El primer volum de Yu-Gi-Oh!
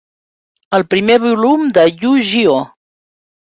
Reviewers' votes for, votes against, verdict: 2, 0, accepted